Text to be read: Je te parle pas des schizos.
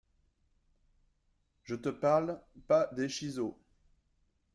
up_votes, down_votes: 1, 2